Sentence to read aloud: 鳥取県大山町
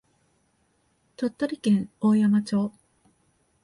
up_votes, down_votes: 2, 1